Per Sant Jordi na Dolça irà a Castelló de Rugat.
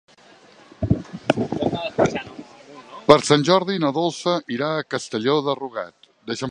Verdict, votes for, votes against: rejected, 0, 2